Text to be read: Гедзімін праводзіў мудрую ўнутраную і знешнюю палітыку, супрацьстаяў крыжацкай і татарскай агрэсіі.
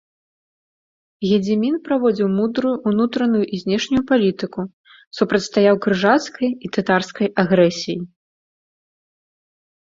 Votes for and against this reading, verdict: 3, 0, accepted